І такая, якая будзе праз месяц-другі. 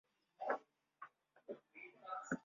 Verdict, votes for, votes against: rejected, 0, 2